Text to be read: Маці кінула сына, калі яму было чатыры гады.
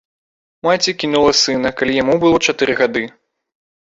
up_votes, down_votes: 2, 0